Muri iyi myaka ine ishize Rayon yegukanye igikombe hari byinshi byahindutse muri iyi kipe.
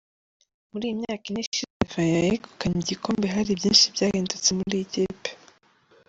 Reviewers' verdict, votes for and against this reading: rejected, 0, 2